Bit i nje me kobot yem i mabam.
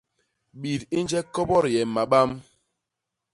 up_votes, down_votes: 1, 2